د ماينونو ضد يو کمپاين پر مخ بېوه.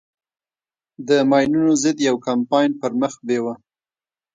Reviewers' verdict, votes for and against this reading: rejected, 1, 2